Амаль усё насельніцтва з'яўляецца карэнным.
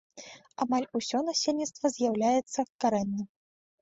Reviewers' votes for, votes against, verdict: 2, 0, accepted